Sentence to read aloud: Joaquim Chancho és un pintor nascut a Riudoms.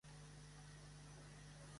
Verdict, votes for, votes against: rejected, 0, 2